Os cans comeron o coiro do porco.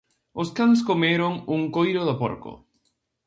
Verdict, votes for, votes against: rejected, 0, 2